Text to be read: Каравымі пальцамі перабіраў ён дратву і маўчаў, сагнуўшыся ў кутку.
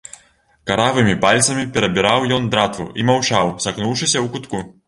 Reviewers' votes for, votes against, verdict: 2, 0, accepted